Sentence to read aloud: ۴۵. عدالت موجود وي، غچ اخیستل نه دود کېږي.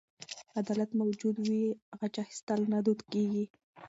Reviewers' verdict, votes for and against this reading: rejected, 0, 2